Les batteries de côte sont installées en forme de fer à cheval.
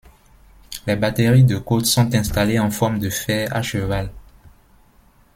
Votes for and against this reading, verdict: 2, 1, accepted